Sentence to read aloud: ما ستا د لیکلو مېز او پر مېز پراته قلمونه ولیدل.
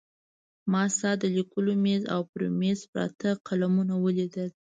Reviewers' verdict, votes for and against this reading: rejected, 1, 2